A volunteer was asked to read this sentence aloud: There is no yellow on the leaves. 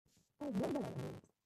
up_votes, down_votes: 0, 2